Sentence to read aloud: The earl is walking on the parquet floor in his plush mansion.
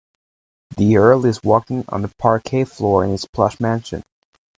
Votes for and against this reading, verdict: 2, 0, accepted